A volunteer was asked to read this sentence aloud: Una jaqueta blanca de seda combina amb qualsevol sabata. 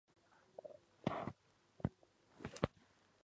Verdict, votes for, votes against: rejected, 0, 2